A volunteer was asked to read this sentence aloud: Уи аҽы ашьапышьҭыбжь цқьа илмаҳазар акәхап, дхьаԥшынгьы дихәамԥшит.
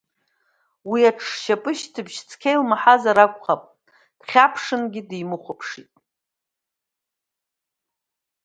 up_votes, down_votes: 1, 2